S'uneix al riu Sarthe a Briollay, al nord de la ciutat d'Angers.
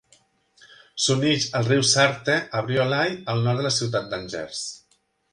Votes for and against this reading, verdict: 3, 0, accepted